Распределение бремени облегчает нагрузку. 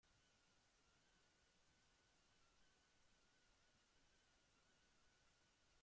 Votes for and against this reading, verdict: 0, 2, rejected